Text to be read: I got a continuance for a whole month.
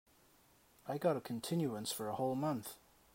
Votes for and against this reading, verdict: 2, 0, accepted